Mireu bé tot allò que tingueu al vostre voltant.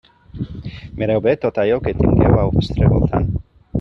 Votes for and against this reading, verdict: 1, 2, rejected